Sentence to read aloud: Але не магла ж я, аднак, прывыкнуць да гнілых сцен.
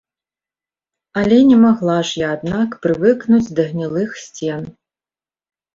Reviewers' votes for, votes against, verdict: 2, 0, accepted